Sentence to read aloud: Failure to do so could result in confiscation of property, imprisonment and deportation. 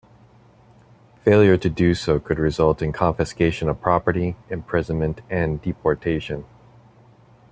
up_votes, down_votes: 2, 0